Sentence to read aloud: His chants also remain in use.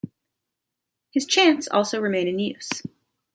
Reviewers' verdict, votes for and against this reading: accepted, 2, 0